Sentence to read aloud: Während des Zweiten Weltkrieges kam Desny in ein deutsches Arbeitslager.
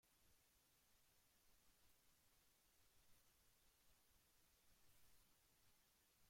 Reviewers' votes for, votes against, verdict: 0, 2, rejected